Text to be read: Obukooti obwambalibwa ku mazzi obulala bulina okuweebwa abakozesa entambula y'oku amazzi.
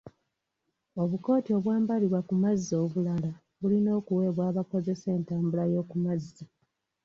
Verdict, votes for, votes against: accepted, 2, 0